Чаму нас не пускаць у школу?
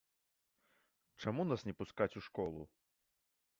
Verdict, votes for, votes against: accepted, 2, 0